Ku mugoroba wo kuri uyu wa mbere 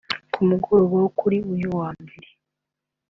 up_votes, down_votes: 2, 0